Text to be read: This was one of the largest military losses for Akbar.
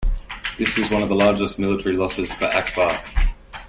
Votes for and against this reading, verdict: 2, 0, accepted